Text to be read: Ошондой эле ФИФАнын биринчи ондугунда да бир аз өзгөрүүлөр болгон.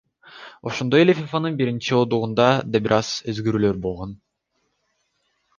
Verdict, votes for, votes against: accepted, 2, 1